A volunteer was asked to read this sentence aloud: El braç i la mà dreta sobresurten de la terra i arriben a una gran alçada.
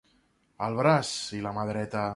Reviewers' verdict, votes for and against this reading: rejected, 0, 2